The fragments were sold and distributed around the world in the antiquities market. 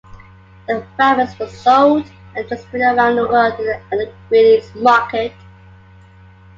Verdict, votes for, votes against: rejected, 0, 2